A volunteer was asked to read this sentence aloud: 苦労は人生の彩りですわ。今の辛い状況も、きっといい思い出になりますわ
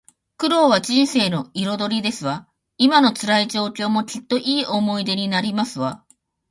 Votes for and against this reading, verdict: 0, 2, rejected